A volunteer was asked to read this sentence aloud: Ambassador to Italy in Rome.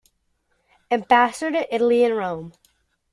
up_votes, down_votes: 1, 2